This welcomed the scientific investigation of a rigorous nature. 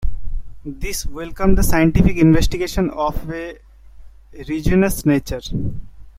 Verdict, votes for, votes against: rejected, 1, 2